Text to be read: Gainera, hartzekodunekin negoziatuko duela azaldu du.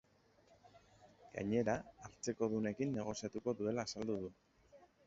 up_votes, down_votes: 1, 2